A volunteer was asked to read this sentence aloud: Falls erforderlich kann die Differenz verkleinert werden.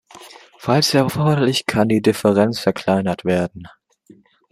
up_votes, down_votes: 2, 0